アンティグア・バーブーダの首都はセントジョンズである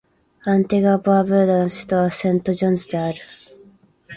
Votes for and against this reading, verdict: 0, 2, rejected